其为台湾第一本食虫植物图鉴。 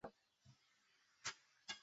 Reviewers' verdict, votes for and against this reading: rejected, 0, 2